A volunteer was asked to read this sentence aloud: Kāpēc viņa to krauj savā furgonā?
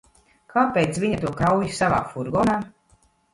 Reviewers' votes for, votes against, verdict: 1, 2, rejected